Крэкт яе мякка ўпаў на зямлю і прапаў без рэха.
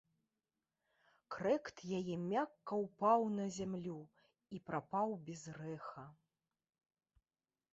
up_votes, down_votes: 2, 0